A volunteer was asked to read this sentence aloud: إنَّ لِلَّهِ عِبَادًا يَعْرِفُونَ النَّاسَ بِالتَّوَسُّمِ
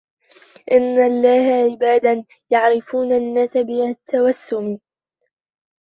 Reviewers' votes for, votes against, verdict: 1, 2, rejected